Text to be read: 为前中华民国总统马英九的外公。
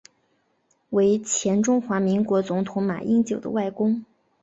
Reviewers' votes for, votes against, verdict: 2, 0, accepted